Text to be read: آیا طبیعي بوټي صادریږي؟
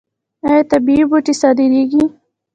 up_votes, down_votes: 2, 1